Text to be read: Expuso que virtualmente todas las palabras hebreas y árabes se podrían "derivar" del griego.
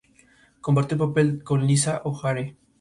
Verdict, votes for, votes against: rejected, 0, 2